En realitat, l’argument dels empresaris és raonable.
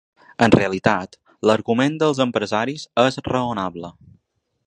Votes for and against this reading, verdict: 3, 0, accepted